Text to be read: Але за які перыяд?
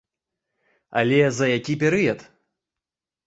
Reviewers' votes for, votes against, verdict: 2, 0, accepted